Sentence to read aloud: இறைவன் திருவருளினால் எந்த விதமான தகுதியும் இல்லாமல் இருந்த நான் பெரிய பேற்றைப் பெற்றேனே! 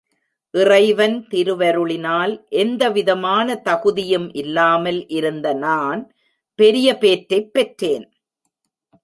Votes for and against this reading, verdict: 0, 2, rejected